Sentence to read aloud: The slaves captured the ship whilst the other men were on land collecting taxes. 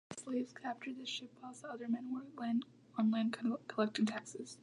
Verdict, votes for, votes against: rejected, 0, 2